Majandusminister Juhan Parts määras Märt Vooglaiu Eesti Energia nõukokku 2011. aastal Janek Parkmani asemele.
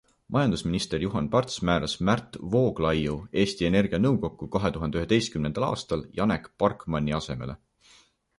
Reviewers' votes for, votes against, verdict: 0, 2, rejected